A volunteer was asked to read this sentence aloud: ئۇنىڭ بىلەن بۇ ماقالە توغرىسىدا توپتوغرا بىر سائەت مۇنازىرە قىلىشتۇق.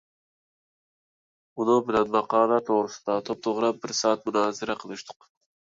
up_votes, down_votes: 0, 2